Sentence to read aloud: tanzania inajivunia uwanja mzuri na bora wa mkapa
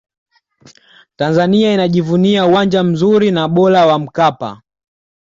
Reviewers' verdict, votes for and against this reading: accepted, 2, 0